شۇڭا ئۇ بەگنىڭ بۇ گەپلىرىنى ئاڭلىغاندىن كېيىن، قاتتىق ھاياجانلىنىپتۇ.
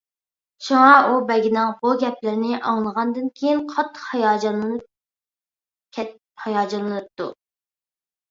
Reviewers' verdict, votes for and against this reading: rejected, 0, 2